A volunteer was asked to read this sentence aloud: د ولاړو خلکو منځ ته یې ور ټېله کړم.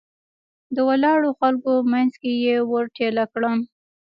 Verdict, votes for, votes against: rejected, 1, 2